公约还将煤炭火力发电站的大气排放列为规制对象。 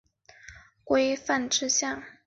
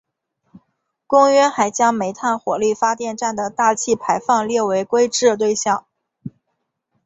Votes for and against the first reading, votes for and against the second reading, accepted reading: 2, 3, 3, 0, second